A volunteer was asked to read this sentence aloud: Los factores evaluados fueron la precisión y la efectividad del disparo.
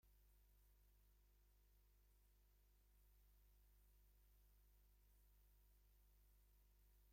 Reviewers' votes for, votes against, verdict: 0, 2, rejected